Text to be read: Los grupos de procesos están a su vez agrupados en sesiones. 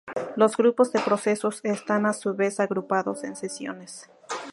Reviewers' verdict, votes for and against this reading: accepted, 2, 0